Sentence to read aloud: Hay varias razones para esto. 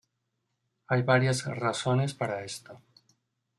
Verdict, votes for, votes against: accepted, 2, 0